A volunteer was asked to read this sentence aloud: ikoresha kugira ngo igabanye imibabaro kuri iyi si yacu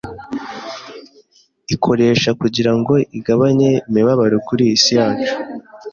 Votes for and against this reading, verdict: 2, 0, accepted